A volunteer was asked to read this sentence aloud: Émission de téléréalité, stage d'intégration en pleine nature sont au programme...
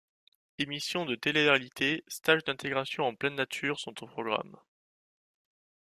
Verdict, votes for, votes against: accepted, 2, 0